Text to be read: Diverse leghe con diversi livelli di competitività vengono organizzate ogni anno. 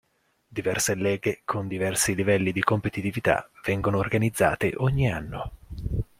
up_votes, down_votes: 2, 0